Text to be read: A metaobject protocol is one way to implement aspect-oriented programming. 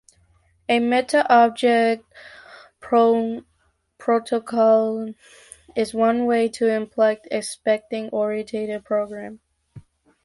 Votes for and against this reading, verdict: 0, 2, rejected